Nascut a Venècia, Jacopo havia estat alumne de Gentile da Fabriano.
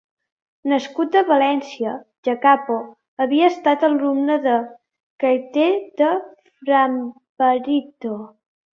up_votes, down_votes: 0, 2